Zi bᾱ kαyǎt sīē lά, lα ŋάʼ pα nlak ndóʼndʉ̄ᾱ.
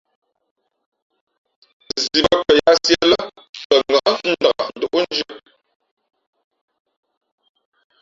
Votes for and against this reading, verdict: 1, 2, rejected